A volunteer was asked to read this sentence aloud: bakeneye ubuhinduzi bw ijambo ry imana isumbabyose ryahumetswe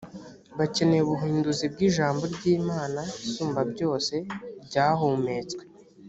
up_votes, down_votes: 3, 0